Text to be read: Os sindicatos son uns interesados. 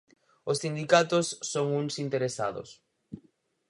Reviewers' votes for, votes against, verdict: 4, 0, accepted